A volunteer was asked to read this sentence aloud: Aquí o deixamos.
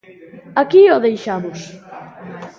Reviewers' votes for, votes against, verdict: 0, 2, rejected